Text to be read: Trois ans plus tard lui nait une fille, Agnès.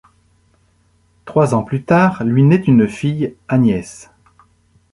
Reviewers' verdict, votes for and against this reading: rejected, 1, 2